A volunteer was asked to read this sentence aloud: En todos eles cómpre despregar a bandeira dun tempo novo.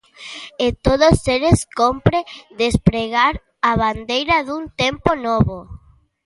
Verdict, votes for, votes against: rejected, 1, 2